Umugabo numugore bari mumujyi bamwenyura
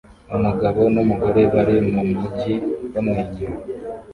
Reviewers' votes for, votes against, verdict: 2, 0, accepted